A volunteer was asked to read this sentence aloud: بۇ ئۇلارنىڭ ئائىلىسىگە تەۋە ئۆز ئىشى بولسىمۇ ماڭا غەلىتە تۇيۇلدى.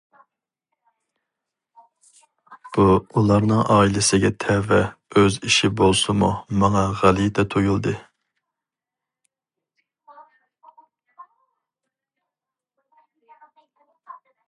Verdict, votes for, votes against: accepted, 4, 0